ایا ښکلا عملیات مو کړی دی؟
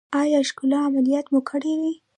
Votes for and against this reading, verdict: 0, 2, rejected